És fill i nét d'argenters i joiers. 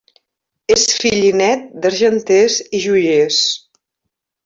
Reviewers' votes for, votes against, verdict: 0, 2, rejected